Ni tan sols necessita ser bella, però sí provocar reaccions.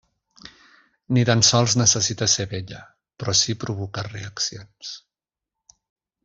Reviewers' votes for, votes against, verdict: 2, 0, accepted